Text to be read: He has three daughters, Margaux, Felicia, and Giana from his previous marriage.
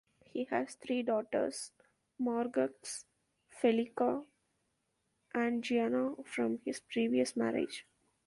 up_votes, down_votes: 0, 2